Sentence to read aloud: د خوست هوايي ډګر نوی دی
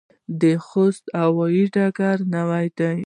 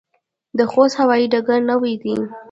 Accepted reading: second